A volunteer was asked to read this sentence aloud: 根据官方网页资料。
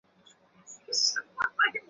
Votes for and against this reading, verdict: 0, 2, rejected